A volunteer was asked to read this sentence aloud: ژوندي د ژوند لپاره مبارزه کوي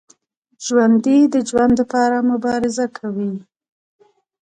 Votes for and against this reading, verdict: 2, 0, accepted